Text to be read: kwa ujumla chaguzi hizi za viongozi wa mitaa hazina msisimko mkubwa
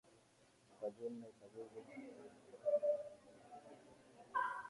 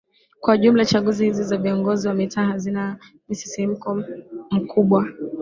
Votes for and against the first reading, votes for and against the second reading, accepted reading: 4, 8, 2, 1, second